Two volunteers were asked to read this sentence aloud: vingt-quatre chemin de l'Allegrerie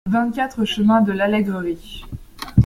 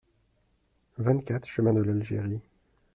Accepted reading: first